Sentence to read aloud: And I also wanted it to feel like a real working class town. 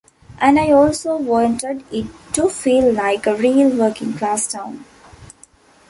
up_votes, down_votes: 2, 0